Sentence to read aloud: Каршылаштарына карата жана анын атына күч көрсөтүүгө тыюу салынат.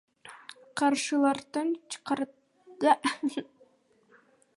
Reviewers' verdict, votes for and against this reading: rejected, 0, 2